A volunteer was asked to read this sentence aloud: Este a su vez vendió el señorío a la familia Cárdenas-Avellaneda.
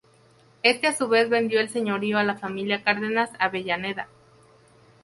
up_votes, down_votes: 2, 0